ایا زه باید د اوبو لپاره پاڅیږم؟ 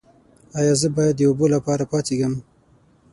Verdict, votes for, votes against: rejected, 0, 6